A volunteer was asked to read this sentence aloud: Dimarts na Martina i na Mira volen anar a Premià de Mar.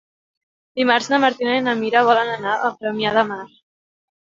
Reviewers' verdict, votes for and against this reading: accepted, 2, 0